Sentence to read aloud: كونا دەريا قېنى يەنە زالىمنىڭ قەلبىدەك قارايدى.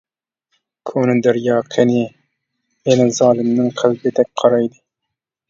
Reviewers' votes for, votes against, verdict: 0, 2, rejected